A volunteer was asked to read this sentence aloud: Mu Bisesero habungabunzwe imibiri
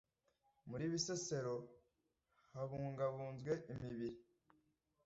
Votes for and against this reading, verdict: 0, 2, rejected